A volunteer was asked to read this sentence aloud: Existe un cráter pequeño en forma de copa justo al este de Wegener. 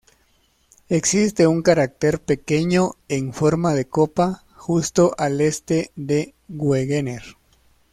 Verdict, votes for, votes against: rejected, 0, 2